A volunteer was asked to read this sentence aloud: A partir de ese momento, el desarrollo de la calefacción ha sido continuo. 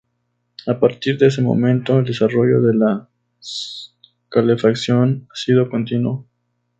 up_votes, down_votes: 0, 2